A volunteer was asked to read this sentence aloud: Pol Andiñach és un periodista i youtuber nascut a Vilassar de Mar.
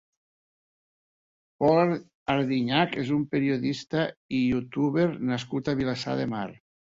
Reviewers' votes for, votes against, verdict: 2, 0, accepted